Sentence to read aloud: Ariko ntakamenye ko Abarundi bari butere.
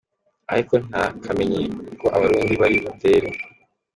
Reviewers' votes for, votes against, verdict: 3, 0, accepted